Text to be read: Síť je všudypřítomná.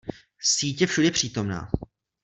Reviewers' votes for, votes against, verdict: 2, 0, accepted